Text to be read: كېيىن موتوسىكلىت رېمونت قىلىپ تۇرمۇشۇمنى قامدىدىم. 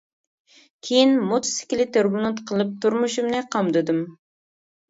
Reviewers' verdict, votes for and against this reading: rejected, 1, 2